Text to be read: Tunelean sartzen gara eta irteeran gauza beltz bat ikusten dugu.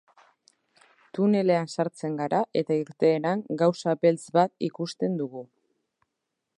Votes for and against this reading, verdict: 2, 0, accepted